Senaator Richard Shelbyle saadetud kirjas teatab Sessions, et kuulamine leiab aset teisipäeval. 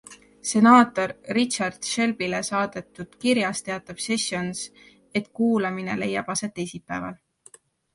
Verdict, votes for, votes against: accepted, 2, 0